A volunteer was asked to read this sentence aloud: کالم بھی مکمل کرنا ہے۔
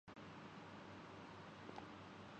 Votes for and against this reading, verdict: 0, 2, rejected